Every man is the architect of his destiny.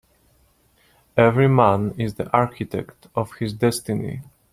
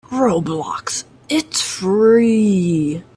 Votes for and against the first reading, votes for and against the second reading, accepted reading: 2, 1, 0, 2, first